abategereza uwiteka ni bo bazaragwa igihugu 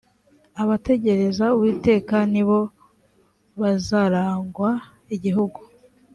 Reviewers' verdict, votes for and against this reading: accepted, 3, 1